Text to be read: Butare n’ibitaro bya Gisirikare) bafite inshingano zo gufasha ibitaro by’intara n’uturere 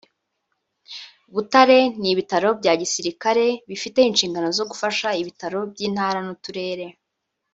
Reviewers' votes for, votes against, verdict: 1, 2, rejected